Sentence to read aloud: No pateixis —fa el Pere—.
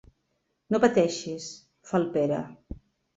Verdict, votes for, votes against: accepted, 6, 0